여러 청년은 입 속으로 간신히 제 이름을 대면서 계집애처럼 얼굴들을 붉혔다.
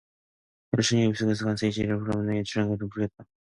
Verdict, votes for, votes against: rejected, 0, 2